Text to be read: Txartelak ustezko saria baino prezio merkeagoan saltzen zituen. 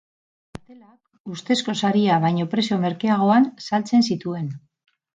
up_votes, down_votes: 0, 4